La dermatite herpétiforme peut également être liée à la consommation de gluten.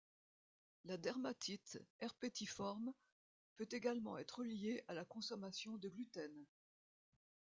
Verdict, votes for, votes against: accepted, 2, 0